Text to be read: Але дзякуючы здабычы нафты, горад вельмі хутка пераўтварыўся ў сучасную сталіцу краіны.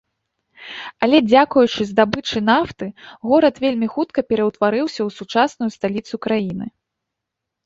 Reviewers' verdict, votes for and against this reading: accepted, 2, 0